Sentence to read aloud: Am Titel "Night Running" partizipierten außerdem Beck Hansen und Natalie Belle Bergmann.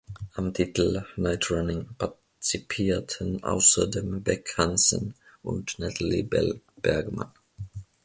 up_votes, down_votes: 0, 2